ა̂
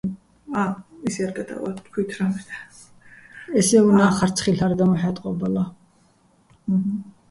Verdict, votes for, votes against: rejected, 0, 2